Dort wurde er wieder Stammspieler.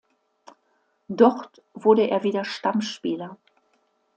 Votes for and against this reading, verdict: 2, 0, accepted